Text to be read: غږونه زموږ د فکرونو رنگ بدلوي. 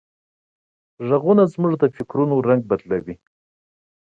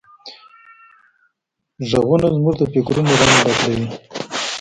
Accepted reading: first